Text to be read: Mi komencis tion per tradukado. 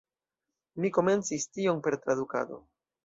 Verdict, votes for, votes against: accepted, 2, 1